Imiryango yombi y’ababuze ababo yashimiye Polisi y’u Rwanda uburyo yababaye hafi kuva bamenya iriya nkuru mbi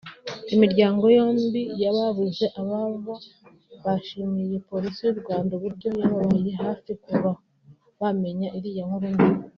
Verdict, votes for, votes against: accepted, 2, 1